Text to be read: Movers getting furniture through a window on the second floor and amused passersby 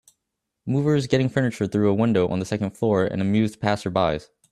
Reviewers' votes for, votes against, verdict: 0, 2, rejected